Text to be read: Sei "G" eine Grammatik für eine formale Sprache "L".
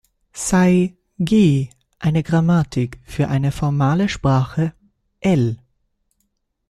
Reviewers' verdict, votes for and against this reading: accepted, 2, 1